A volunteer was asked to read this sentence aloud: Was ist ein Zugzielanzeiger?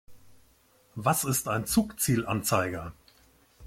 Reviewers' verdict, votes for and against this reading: accepted, 2, 0